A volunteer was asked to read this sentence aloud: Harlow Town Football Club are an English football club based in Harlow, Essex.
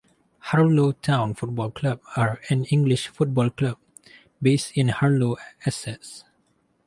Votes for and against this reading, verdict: 2, 2, rejected